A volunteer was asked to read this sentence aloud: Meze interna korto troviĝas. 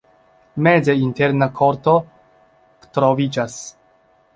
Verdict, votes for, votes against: rejected, 1, 2